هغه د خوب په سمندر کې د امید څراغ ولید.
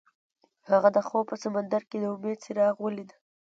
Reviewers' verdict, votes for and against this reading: accepted, 2, 0